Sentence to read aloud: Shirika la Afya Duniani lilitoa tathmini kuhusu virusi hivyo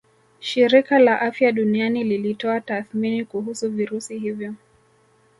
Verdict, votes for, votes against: accepted, 2, 0